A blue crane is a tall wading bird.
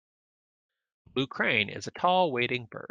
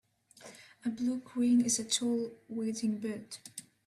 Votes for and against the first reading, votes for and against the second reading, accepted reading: 1, 2, 2, 1, second